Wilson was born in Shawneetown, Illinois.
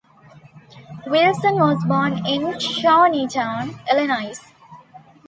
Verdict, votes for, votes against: accepted, 2, 0